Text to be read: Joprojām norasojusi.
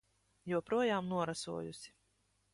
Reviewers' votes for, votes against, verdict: 1, 2, rejected